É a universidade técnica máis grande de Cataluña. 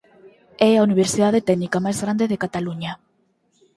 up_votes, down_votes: 6, 0